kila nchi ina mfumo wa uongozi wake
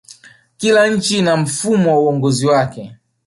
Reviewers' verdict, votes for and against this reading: accepted, 3, 0